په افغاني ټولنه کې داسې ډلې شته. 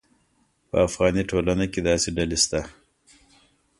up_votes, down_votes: 2, 0